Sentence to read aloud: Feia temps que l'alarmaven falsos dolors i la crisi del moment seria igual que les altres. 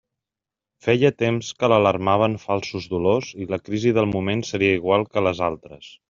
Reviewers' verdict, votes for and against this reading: accepted, 3, 0